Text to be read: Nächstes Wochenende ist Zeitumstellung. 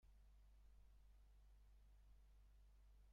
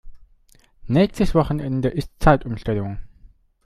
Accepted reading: second